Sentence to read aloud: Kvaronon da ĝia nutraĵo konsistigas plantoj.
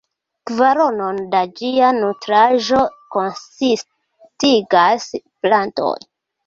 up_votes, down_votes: 2, 1